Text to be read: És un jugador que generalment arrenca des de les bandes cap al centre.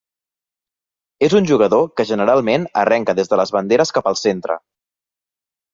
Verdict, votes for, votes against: rejected, 1, 2